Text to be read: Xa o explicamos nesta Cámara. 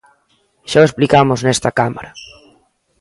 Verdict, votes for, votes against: accepted, 2, 0